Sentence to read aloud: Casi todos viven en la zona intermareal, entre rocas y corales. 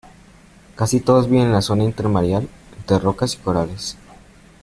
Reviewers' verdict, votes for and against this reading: accepted, 2, 0